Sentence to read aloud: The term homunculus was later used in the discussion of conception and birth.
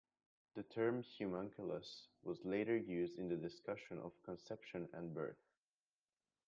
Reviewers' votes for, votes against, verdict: 1, 2, rejected